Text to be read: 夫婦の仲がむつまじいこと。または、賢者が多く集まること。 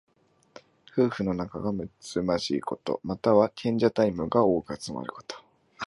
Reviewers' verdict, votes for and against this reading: rejected, 1, 2